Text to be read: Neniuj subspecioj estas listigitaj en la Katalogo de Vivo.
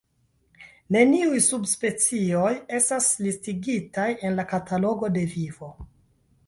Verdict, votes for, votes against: accepted, 2, 0